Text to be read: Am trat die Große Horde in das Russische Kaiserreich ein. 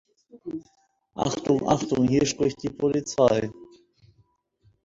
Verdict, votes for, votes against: rejected, 0, 2